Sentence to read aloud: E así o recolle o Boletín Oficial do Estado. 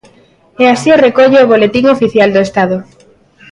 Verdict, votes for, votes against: accepted, 2, 1